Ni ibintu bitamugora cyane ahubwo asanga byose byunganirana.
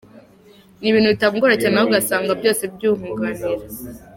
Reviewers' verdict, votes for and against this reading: rejected, 1, 2